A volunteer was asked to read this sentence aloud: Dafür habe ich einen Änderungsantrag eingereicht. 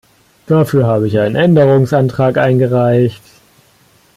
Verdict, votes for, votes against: rejected, 1, 2